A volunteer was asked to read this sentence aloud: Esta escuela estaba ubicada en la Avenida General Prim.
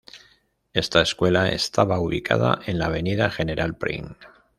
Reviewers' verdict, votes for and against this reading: accepted, 2, 0